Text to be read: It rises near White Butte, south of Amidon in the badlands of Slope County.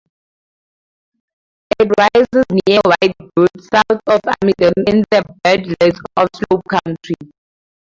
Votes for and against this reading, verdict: 0, 2, rejected